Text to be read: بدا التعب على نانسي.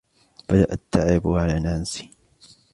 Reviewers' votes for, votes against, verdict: 2, 0, accepted